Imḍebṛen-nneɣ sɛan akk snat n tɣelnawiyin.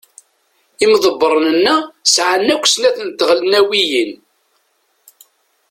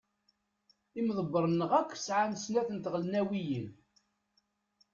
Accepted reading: first